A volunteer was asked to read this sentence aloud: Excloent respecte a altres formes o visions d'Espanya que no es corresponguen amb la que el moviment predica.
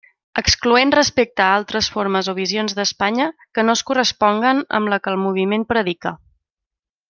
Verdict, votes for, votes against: accepted, 2, 0